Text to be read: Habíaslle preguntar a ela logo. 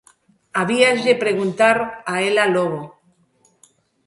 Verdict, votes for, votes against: accepted, 3, 0